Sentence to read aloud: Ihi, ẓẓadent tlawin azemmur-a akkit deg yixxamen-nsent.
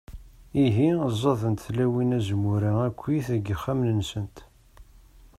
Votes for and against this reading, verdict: 2, 0, accepted